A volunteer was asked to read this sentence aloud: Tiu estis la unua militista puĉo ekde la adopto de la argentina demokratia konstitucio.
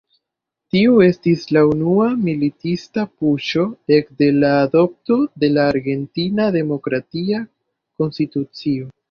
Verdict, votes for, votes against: rejected, 1, 2